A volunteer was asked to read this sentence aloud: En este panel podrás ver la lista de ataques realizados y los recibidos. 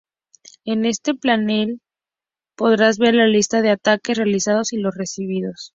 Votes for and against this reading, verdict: 0, 2, rejected